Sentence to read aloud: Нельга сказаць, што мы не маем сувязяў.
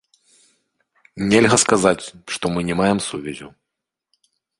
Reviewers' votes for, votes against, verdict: 2, 0, accepted